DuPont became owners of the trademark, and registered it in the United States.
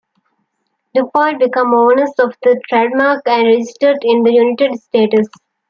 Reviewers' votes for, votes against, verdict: 2, 1, accepted